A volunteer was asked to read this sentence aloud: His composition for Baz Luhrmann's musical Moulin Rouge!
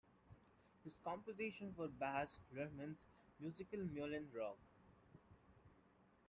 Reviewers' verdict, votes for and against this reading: rejected, 1, 2